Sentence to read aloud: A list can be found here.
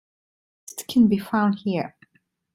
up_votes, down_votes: 1, 2